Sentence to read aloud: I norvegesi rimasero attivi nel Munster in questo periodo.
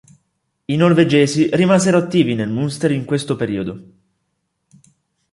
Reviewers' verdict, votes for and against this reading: rejected, 1, 2